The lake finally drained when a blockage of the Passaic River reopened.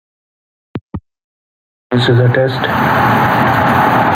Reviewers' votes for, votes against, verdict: 0, 2, rejected